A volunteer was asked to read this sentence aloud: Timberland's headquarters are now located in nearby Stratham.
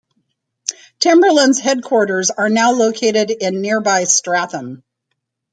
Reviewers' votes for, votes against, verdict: 2, 1, accepted